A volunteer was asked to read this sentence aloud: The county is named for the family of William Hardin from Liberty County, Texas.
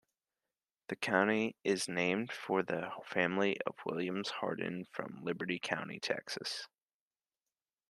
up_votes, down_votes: 1, 2